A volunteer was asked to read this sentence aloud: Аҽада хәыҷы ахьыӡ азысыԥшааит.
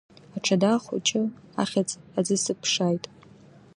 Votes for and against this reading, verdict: 2, 0, accepted